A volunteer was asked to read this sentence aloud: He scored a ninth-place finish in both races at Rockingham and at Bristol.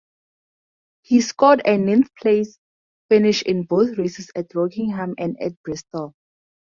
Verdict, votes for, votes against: rejected, 0, 2